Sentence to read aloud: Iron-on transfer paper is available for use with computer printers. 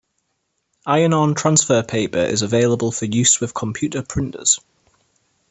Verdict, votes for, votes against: accepted, 2, 0